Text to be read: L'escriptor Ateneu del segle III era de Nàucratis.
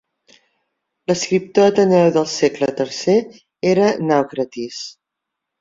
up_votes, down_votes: 0, 2